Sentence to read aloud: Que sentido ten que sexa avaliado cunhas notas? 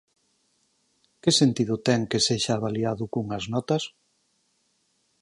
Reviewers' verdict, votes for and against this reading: rejected, 2, 4